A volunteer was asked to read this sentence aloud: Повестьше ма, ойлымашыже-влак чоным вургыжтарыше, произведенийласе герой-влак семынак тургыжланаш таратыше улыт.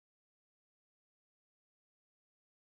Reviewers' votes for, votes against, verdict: 0, 2, rejected